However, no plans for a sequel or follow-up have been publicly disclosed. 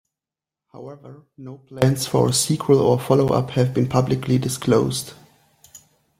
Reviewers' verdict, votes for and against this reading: rejected, 0, 2